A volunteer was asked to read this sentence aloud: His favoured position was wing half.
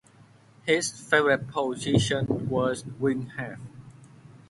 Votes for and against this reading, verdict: 1, 2, rejected